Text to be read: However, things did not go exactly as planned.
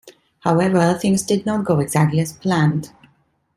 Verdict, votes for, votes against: accepted, 2, 0